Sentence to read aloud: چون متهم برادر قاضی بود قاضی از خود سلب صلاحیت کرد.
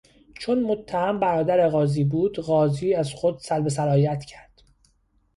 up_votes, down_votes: 2, 0